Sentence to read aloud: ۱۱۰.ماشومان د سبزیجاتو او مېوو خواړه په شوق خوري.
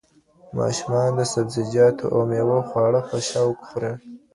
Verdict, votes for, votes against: rejected, 0, 2